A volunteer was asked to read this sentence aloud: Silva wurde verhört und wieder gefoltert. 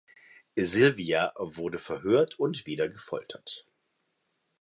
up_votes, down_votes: 1, 2